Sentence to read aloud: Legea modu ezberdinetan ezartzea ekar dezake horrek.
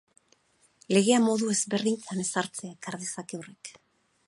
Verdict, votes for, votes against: rejected, 0, 4